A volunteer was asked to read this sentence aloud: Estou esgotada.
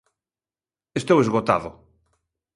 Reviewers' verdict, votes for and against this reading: rejected, 0, 2